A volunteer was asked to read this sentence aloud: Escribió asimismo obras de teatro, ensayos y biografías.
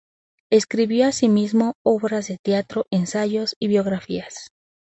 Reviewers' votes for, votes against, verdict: 2, 0, accepted